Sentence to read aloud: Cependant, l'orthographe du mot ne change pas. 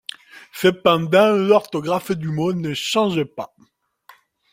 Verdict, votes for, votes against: accepted, 2, 1